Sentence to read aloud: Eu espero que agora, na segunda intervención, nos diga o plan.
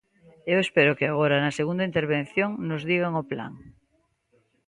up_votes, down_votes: 0, 2